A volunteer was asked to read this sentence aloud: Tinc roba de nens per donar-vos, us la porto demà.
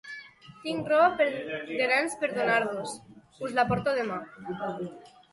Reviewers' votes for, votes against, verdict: 0, 2, rejected